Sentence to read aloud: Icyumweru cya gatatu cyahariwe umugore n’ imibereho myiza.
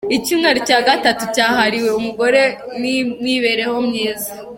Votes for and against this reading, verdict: 2, 1, accepted